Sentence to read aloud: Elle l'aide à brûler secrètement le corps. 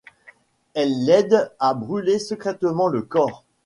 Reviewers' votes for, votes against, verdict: 2, 0, accepted